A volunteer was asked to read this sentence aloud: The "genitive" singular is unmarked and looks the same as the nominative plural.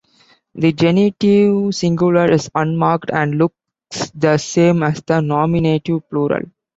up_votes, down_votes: 1, 2